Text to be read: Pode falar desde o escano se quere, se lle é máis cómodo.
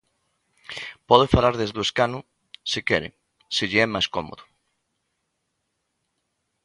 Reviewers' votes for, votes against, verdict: 2, 0, accepted